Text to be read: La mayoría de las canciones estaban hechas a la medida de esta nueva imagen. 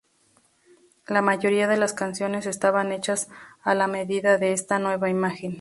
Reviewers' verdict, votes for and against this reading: accepted, 2, 0